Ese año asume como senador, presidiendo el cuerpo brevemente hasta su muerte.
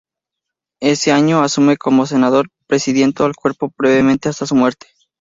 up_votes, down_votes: 0, 2